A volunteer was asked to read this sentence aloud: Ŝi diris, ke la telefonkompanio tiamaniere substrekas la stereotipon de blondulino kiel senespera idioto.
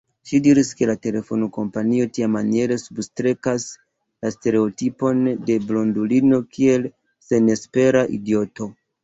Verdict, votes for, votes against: accepted, 2, 1